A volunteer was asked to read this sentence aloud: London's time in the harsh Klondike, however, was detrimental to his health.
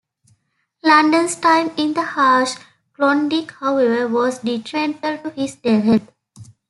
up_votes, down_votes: 0, 2